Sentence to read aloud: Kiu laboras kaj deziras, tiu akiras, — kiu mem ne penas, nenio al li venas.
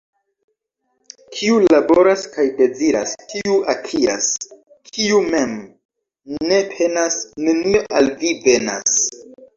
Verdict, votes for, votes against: rejected, 1, 2